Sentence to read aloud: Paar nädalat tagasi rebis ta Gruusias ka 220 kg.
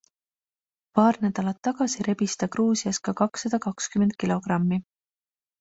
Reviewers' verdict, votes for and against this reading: rejected, 0, 2